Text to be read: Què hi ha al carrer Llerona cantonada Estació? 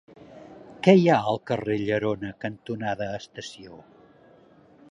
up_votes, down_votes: 2, 0